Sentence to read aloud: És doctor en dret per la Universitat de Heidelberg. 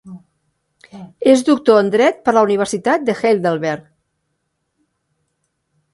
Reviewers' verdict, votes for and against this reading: accepted, 2, 1